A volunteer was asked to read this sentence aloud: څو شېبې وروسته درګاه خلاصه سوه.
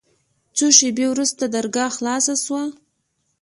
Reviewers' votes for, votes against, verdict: 2, 0, accepted